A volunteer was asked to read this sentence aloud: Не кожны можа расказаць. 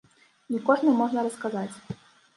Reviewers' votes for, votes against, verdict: 0, 2, rejected